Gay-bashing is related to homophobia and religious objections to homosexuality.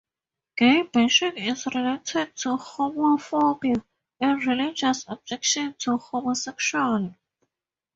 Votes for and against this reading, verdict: 2, 0, accepted